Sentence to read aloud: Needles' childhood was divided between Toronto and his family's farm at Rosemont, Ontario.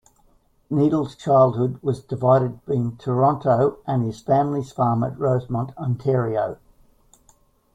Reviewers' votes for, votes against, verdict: 1, 2, rejected